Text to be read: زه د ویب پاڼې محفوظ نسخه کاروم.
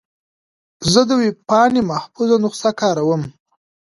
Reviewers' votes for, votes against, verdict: 2, 1, accepted